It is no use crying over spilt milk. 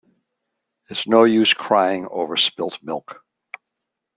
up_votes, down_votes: 0, 2